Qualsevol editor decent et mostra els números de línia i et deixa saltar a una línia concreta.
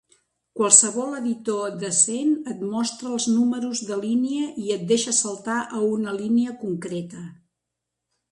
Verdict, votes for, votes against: accepted, 3, 1